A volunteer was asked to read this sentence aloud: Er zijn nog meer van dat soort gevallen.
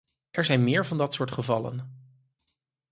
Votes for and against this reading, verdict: 0, 4, rejected